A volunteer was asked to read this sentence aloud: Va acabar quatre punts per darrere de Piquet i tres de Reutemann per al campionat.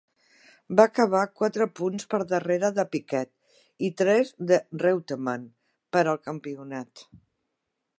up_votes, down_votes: 2, 0